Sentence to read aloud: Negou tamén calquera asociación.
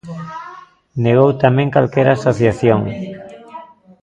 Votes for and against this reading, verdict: 2, 0, accepted